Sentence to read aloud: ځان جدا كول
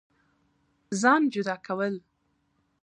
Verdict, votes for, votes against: rejected, 1, 2